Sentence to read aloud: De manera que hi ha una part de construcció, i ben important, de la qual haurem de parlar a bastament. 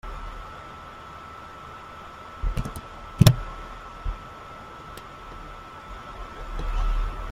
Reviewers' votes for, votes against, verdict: 0, 2, rejected